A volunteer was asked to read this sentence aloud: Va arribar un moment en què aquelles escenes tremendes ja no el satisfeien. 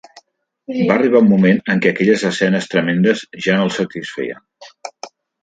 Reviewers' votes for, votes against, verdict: 1, 2, rejected